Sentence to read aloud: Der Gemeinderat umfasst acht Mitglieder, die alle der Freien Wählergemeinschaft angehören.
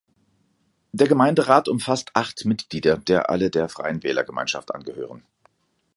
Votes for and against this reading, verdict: 0, 2, rejected